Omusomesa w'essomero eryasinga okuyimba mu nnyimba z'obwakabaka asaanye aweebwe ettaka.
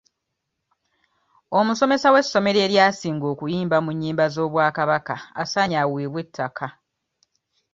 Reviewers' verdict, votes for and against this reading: accepted, 2, 0